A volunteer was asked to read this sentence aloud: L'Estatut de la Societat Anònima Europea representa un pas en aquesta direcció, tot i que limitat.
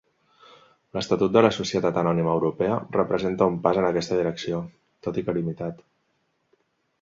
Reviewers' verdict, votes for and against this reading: accepted, 3, 0